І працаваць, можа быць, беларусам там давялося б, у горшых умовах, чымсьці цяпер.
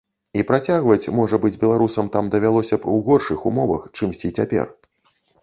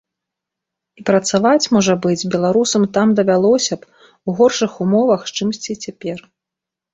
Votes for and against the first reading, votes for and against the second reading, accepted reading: 0, 2, 2, 0, second